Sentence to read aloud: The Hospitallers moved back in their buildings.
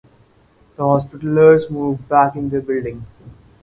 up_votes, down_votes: 2, 4